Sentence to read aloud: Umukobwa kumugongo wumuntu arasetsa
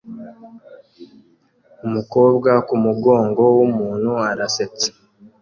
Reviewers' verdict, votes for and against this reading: accepted, 2, 0